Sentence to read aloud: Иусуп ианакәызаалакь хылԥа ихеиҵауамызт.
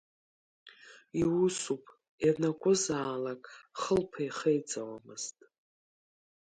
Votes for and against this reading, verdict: 3, 2, accepted